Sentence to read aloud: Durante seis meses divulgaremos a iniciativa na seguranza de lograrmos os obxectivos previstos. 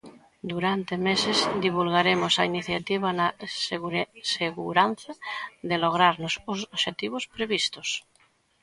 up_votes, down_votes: 0, 2